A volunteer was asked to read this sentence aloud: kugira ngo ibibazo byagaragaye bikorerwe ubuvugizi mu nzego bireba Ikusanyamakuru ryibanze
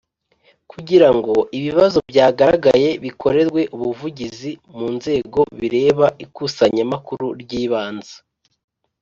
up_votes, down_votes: 2, 0